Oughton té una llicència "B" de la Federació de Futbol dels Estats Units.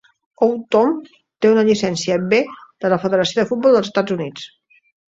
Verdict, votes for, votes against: accepted, 2, 0